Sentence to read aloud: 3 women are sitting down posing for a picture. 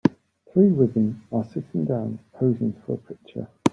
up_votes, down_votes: 0, 2